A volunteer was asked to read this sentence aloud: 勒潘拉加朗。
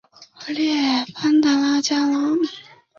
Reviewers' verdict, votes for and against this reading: rejected, 0, 3